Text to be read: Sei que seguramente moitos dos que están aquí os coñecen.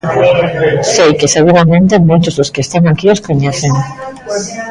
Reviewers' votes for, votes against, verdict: 1, 2, rejected